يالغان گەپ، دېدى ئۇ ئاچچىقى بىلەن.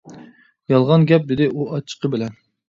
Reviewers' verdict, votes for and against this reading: accepted, 2, 0